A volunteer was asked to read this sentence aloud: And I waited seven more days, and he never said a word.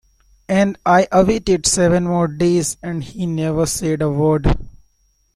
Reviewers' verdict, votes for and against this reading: rejected, 0, 2